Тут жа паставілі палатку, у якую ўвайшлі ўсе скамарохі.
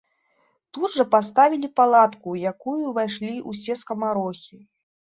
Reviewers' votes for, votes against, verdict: 2, 0, accepted